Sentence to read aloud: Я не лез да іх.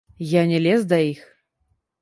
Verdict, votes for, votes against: rejected, 0, 2